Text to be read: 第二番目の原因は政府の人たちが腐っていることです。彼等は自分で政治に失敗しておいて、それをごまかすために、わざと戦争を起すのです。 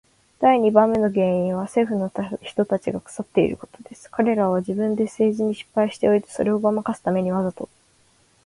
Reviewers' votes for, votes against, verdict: 0, 2, rejected